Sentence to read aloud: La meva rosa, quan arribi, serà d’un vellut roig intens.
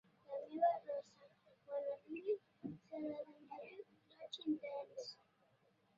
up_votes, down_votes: 0, 2